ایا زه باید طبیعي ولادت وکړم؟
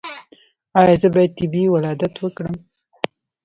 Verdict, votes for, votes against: rejected, 1, 2